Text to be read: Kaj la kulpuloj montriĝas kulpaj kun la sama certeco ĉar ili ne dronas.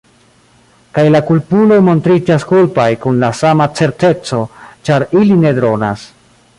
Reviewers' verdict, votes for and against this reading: accepted, 2, 0